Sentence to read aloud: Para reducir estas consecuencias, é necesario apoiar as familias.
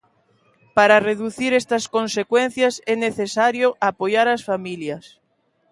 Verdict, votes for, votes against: accepted, 2, 0